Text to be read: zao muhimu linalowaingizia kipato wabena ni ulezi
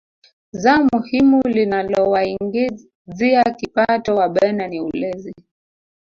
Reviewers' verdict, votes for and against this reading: rejected, 1, 2